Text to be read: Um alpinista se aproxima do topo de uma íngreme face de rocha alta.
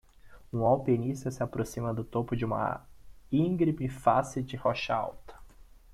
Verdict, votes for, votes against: rejected, 1, 2